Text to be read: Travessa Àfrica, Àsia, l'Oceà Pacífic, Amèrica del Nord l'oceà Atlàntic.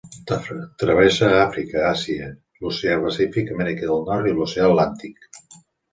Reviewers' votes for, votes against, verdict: 0, 2, rejected